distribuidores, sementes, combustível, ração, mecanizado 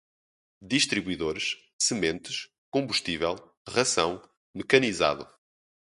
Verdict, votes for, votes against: rejected, 0, 2